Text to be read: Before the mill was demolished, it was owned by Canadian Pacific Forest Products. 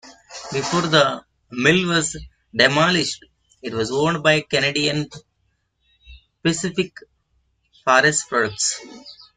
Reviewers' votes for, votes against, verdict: 0, 2, rejected